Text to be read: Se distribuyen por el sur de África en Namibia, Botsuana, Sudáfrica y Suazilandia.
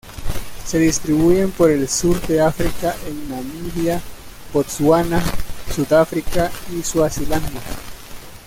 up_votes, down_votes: 1, 2